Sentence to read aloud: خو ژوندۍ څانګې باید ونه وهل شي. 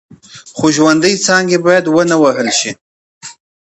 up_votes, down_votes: 2, 0